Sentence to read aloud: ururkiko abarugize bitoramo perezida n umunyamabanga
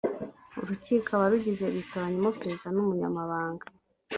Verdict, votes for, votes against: accepted, 3, 0